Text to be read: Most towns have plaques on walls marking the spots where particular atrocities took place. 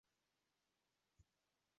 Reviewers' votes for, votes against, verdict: 0, 2, rejected